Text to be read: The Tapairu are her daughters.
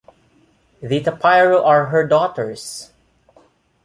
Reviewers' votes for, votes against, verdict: 2, 0, accepted